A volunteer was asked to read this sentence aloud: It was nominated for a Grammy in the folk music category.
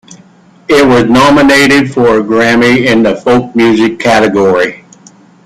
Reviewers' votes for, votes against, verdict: 2, 1, accepted